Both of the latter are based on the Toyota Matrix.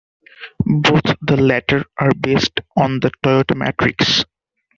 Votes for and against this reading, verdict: 1, 2, rejected